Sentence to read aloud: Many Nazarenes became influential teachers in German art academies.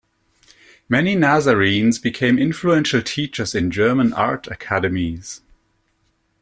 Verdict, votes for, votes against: accepted, 2, 0